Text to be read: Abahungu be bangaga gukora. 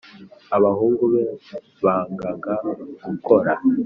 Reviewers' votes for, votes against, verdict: 2, 0, accepted